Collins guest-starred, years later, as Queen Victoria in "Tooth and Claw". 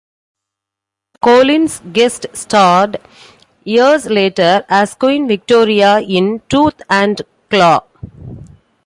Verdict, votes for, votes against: accepted, 2, 0